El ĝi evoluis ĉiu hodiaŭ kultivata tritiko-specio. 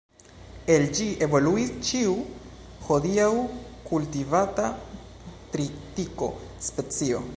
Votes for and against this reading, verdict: 1, 2, rejected